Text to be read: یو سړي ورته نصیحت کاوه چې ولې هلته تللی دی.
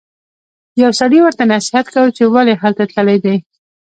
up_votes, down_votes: 1, 2